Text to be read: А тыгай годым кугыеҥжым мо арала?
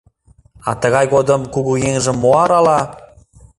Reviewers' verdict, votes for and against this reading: accepted, 2, 0